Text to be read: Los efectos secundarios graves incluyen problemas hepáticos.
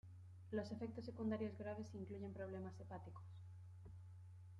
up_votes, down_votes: 2, 0